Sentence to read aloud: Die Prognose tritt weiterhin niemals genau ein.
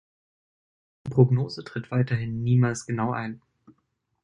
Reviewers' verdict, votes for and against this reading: rejected, 0, 2